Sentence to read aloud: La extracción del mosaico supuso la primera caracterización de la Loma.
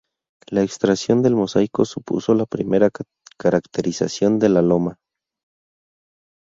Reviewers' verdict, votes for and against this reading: rejected, 0, 2